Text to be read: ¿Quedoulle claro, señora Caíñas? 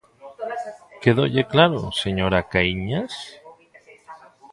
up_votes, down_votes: 2, 0